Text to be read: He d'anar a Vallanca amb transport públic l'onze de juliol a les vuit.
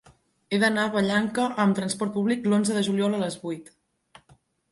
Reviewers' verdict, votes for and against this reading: accepted, 2, 0